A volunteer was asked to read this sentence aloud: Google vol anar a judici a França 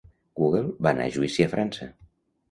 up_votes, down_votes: 0, 2